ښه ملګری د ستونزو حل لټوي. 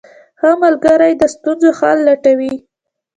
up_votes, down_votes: 2, 1